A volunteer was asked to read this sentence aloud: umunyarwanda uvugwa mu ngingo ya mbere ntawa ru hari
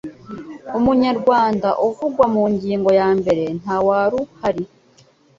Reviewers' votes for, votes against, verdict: 2, 0, accepted